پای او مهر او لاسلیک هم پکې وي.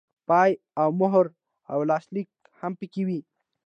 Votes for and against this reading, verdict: 2, 0, accepted